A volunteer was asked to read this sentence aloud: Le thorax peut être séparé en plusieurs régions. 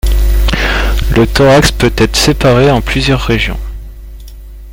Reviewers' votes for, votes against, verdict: 2, 0, accepted